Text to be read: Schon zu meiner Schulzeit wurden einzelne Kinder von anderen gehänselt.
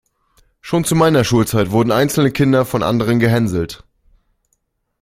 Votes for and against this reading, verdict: 1, 2, rejected